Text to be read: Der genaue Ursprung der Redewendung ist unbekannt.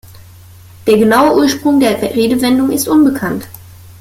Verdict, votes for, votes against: accepted, 2, 0